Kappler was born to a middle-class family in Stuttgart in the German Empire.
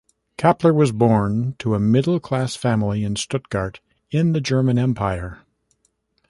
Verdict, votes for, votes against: accepted, 2, 1